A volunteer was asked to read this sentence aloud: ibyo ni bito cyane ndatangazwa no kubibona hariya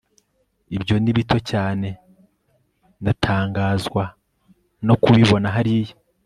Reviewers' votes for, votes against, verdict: 3, 0, accepted